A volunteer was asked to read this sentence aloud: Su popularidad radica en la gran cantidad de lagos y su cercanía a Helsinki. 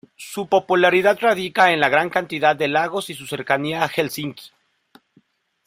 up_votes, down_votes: 1, 2